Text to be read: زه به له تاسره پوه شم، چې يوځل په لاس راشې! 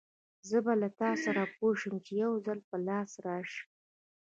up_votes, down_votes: 1, 2